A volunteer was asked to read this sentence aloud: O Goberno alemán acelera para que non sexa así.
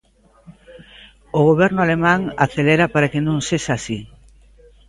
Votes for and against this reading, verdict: 1, 2, rejected